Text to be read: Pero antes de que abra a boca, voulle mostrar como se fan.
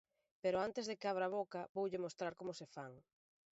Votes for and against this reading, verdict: 2, 1, accepted